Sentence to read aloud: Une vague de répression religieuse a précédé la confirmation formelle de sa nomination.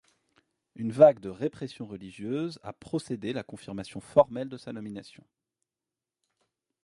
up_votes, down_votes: 0, 2